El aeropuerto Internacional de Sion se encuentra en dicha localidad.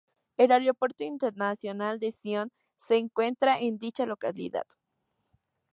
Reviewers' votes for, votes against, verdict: 2, 0, accepted